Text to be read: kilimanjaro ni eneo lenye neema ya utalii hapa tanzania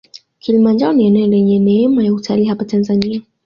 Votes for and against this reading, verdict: 2, 0, accepted